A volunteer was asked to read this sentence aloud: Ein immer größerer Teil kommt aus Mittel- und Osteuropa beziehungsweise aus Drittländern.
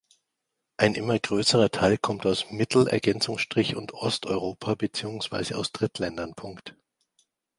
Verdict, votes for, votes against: rejected, 0, 2